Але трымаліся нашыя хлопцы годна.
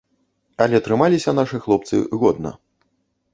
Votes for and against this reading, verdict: 1, 2, rejected